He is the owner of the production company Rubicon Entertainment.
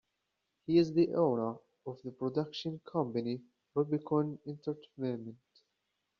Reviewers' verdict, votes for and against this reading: rejected, 1, 2